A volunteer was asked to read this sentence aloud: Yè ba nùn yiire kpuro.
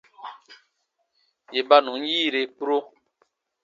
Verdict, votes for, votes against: accepted, 2, 0